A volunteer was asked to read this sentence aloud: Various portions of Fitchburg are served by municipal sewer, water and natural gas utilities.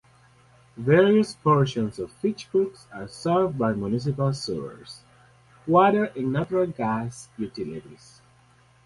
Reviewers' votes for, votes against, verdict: 2, 2, rejected